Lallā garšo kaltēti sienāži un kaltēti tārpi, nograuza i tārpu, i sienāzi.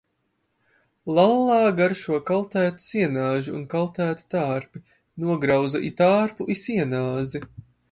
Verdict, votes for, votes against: accepted, 3, 0